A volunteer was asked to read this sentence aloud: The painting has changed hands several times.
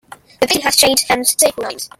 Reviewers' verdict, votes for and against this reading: rejected, 0, 2